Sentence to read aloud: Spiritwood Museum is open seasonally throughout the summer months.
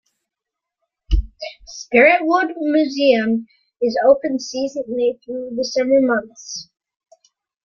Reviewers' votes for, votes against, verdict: 2, 1, accepted